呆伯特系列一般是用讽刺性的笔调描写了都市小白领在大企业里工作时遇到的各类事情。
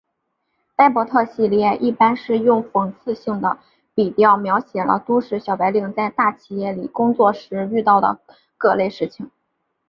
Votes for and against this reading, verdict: 3, 2, accepted